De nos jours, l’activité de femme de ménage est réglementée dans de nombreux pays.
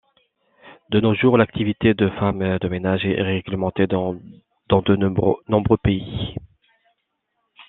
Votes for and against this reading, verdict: 0, 2, rejected